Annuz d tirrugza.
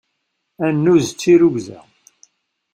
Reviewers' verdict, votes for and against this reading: accepted, 2, 0